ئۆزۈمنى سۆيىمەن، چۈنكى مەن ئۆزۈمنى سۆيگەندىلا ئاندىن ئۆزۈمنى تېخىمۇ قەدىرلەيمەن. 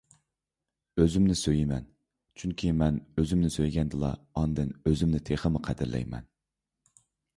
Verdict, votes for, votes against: accepted, 3, 0